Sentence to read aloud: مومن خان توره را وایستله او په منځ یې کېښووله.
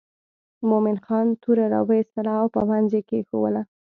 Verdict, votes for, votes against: accepted, 2, 0